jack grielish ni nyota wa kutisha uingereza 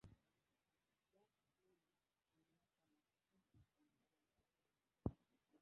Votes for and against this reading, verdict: 1, 2, rejected